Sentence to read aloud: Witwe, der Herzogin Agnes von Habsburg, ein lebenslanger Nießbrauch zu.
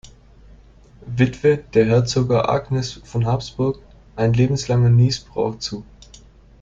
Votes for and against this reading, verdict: 1, 2, rejected